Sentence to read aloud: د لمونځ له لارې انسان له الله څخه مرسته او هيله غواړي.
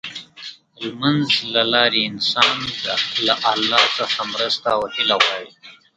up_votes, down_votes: 1, 2